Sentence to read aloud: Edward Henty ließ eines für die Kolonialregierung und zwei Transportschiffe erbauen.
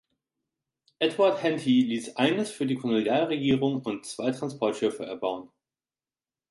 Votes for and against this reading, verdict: 2, 0, accepted